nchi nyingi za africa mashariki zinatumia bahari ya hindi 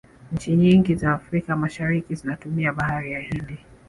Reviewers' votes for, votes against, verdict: 0, 2, rejected